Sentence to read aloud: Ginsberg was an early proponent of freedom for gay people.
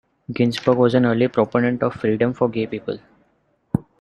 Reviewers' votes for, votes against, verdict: 2, 0, accepted